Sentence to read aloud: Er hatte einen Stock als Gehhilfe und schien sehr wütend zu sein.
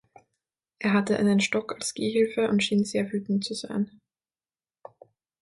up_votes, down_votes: 6, 0